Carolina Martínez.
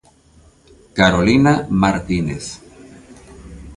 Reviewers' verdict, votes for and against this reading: accepted, 2, 1